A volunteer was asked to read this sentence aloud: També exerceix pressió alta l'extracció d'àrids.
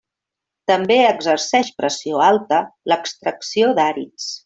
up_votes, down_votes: 3, 0